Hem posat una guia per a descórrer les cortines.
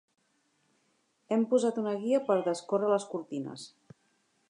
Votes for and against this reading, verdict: 2, 0, accepted